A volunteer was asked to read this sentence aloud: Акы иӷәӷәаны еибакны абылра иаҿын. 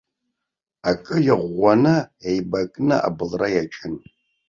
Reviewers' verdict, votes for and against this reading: accepted, 2, 0